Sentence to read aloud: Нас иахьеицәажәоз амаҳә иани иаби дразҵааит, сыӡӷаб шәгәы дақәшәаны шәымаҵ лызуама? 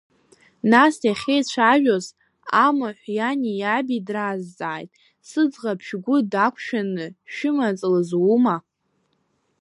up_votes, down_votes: 1, 2